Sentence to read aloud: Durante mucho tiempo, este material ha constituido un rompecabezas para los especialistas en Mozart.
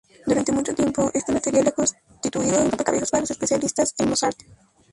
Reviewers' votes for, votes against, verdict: 2, 0, accepted